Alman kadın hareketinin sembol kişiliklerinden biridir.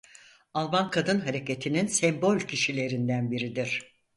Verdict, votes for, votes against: rejected, 0, 4